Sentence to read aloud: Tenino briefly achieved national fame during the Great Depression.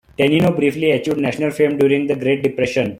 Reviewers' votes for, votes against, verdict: 2, 0, accepted